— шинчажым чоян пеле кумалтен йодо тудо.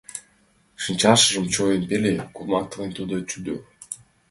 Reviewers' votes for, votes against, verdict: 0, 3, rejected